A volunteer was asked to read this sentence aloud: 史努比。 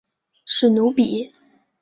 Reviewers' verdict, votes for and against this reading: accepted, 3, 1